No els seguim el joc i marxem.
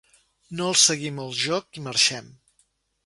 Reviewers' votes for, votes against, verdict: 2, 0, accepted